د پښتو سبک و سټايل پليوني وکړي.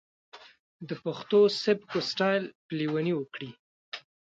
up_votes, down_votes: 0, 2